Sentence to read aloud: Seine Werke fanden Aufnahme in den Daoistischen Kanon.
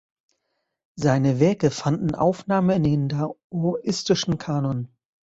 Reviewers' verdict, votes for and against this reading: rejected, 1, 2